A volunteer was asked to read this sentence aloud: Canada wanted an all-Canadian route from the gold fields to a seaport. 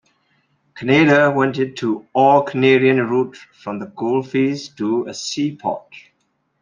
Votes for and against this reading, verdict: 0, 2, rejected